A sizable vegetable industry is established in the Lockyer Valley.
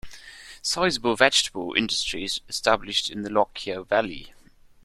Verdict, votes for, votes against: accepted, 2, 0